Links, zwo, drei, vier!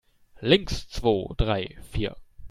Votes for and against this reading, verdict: 2, 0, accepted